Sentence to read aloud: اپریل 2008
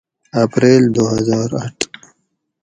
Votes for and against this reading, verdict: 0, 2, rejected